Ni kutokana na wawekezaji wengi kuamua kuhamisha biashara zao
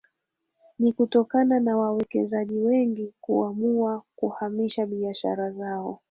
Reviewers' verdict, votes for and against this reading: accepted, 2, 1